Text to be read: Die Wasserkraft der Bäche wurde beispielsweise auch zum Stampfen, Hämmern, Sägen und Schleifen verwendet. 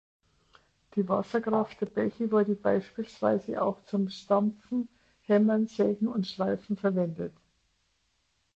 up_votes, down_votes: 3, 0